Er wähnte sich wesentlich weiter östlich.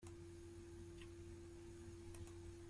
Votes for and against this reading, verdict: 0, 2, rejected